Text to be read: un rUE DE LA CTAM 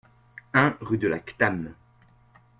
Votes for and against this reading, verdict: 1, 2, rejected